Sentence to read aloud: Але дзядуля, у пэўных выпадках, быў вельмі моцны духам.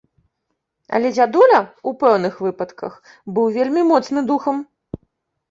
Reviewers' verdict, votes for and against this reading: rejected, 1, 2